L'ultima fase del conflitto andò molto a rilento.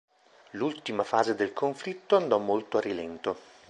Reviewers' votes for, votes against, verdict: 2, 0, accepted